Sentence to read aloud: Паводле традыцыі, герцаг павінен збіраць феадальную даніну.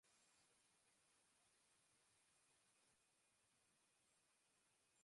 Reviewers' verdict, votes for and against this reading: rejected, 0, 2